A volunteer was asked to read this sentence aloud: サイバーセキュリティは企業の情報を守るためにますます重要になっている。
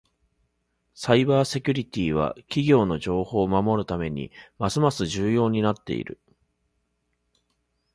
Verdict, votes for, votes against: accepted, 2, 1